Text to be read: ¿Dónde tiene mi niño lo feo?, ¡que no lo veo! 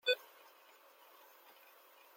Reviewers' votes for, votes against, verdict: 0, 2, rejected